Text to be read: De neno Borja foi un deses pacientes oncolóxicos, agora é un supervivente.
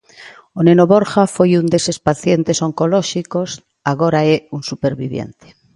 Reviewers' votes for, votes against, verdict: 0, 2, rejected